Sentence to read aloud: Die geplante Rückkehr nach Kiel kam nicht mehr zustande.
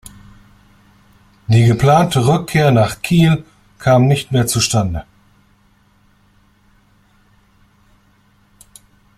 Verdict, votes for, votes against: accepted, 2, 0